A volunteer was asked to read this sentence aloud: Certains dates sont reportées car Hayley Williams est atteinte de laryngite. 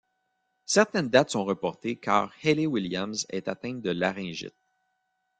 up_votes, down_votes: 2, 0